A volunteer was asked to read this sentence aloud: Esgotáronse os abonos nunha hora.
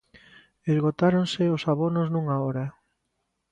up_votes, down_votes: 2, 0